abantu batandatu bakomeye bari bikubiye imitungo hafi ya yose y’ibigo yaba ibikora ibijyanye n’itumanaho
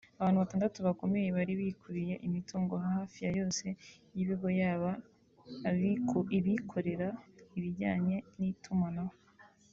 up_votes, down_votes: 1, 2